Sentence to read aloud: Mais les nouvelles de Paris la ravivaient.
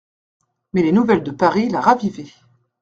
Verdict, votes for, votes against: accepted, 2, 0